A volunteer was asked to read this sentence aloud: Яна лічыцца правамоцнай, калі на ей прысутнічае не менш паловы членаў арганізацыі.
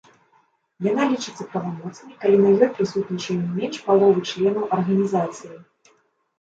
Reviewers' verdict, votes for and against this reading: rejected, 0, 2